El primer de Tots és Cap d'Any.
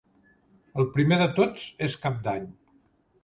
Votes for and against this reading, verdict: 3, 0, accepted